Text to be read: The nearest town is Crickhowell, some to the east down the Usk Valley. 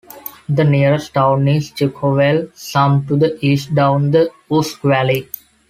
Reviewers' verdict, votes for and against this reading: rejected, 1, 2